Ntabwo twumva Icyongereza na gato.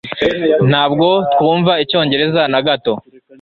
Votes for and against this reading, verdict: 2, 0, accepted